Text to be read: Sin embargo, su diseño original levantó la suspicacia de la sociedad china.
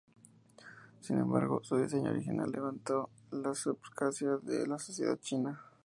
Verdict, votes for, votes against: accepted, 2, 0